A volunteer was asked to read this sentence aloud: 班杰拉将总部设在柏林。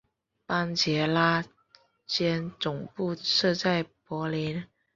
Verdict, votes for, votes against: accepted, 4, 0